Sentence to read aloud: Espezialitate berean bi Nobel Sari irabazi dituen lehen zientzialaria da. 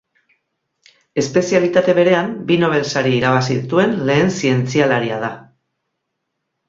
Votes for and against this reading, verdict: 4, 0, accepted